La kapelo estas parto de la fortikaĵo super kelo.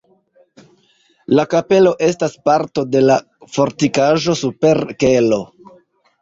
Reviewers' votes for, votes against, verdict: 0, 3, rejected